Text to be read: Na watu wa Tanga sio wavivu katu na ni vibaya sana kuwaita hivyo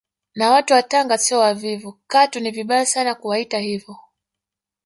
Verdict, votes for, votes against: rejected, 0, 2